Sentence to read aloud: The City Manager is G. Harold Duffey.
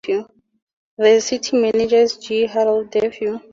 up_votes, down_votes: 2, 0